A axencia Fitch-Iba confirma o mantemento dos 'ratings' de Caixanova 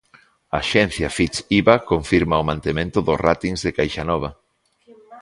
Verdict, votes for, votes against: accepted, 2, 0